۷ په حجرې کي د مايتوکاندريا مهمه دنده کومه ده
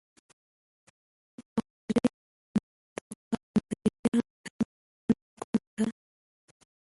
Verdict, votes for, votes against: rejected, 0, 2